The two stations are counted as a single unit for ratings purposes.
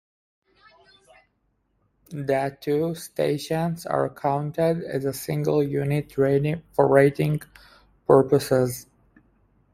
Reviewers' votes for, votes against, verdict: 0, 2, rejected